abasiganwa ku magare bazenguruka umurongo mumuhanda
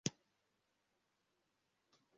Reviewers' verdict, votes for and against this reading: rejected, 0, 2